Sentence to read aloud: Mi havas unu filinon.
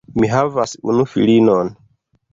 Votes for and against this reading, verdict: 2, 0, accepted